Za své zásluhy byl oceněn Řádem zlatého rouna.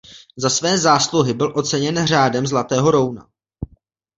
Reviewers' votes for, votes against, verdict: 1, 2, rejected